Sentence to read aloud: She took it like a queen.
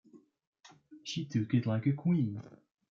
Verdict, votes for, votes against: accepted, 2, 1